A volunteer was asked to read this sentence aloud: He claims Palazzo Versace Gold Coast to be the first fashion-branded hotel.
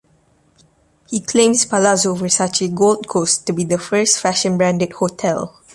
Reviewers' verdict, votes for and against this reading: accepted, 2, 0